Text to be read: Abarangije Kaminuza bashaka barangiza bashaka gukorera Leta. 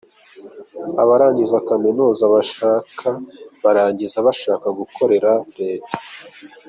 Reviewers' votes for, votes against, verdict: 2, 0, accepted